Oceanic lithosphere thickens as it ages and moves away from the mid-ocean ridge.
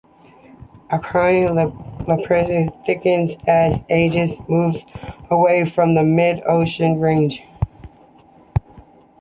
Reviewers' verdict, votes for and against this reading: rejected, 0, 2